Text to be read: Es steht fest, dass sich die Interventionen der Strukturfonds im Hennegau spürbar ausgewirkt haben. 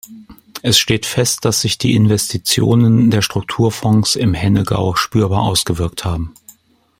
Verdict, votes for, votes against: rejected, 0, 2